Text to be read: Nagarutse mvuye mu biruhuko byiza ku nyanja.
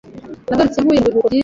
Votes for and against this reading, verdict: 0, 2, rejected